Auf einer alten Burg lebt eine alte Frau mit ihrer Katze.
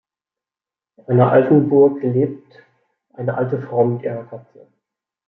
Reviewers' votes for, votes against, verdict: 1, 2, rejected